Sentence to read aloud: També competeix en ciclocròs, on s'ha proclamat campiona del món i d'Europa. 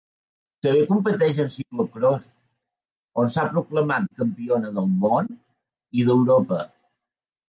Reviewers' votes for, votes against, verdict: 0, 2, rejected